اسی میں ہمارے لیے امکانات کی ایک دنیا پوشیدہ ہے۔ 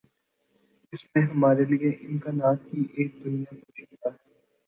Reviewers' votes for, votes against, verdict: 0, 2, rejected